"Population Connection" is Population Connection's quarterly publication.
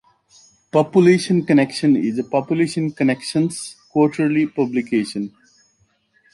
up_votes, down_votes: 2, 0